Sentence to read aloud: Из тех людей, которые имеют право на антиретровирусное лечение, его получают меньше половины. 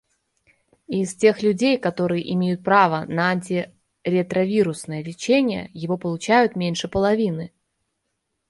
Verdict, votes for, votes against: rejected, 1, 2